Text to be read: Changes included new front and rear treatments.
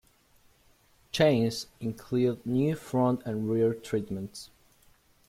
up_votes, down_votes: 1, 3